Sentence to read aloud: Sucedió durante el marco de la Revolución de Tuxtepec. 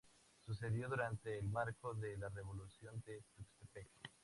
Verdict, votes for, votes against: accepted, 2, 0